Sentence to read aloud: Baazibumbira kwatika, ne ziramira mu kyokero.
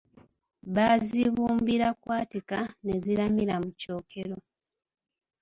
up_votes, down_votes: 2, 0